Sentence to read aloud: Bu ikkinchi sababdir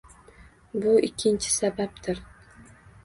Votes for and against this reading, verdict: 2, 0, accepted